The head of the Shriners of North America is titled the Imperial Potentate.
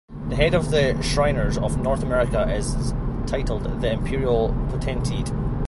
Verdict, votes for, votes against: accepted, 2, 0